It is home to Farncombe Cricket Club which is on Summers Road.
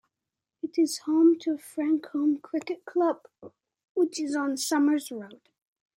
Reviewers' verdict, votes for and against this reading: accepted, 2, 0